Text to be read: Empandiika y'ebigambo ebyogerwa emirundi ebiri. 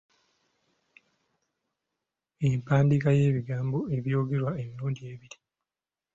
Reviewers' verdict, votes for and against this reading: accepted, 2, 0